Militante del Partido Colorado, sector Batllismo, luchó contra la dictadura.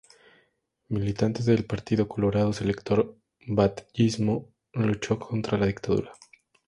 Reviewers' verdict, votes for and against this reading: accepted, 2, 0